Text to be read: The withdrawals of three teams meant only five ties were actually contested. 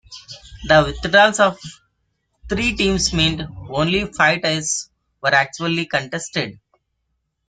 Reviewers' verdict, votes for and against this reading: accepted, 2, 1